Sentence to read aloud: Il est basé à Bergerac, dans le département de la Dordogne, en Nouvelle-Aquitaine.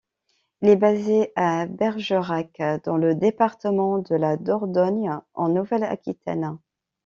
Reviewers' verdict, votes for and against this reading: accepted, 2, 0